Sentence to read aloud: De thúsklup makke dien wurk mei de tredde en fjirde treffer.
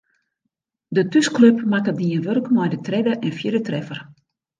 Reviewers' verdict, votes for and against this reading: accepted, 2, 0